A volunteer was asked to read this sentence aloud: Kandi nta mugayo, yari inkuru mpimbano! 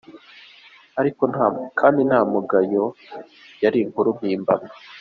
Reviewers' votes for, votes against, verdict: 0, 2, rejected